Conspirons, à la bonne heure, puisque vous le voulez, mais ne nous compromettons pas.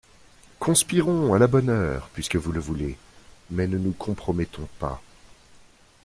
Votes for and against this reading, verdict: 2, 0, accepted